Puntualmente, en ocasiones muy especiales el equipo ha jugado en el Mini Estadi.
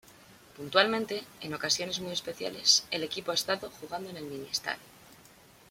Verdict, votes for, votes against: rejected, 1, 2